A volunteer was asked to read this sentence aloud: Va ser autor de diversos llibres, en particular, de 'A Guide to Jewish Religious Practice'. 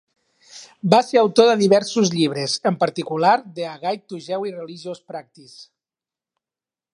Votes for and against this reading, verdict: 3, 1, accepted